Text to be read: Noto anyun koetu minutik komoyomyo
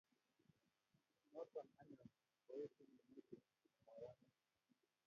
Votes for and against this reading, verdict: 0, 2, rejected